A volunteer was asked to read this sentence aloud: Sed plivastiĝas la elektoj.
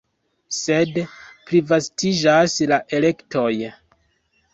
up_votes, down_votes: 2, 0